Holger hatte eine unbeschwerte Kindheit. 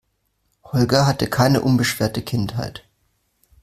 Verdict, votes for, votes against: rejected, 1, 2